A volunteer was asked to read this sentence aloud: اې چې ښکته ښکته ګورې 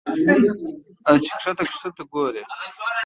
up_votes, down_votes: 2, 0